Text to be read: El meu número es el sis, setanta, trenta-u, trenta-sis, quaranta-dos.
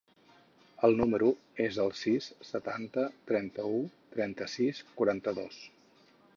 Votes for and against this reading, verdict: 2, 4, rejected